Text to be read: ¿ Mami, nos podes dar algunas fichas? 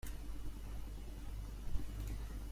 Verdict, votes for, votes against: rejected, 0, 2